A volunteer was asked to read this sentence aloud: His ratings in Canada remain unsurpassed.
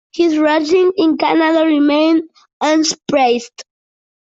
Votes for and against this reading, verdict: 0, 2, rejected